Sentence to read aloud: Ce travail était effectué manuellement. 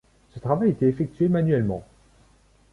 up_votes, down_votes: 2, 1